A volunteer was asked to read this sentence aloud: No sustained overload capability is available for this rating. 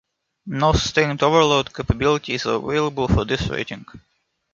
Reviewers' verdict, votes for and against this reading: rejected, 1, 2